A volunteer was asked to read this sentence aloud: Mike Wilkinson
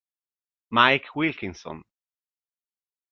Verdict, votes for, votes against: accepted, 2, 0